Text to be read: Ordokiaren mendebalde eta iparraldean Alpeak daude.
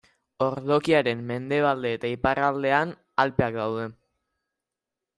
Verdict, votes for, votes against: rejected, 0, 2